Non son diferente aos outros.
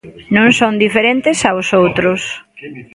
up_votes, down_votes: 1, 2